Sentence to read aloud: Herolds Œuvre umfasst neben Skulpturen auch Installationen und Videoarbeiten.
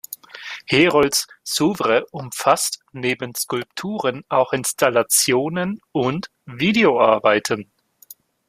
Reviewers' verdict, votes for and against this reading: rejected, 0, 2